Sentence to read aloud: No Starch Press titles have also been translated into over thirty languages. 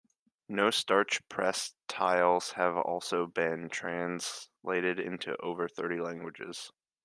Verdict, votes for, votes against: accepted, 2, 1